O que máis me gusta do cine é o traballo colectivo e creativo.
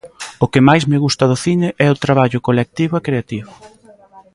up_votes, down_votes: 2, 0